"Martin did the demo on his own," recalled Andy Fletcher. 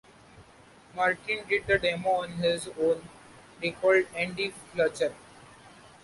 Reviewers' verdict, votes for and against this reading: accepted, 2, 0